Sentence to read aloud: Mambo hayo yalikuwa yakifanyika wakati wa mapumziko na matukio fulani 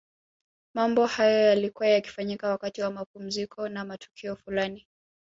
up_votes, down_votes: 0, 2